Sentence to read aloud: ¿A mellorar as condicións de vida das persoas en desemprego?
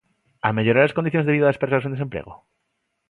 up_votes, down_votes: 2, 0